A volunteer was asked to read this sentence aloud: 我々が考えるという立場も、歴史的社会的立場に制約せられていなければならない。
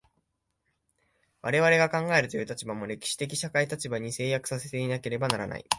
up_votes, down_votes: 2, 0